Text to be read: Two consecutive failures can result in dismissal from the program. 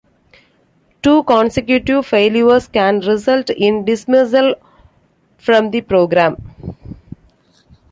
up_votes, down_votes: 2, 0